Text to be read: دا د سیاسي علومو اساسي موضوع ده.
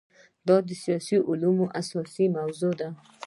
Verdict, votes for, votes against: accepted, 2, 0